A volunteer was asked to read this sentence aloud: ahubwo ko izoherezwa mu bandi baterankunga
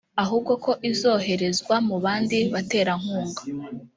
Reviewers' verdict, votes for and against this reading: accepted, 2, 0